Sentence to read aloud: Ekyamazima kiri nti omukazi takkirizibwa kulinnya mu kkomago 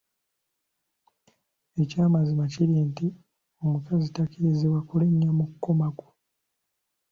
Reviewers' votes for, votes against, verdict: 2, 0, accepted